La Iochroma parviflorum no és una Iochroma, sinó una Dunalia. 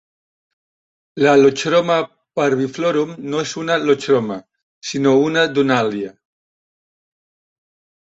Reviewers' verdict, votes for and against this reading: accepted, 2, 0